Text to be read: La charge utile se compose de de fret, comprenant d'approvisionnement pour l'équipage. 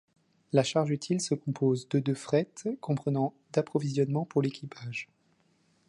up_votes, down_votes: 2, 0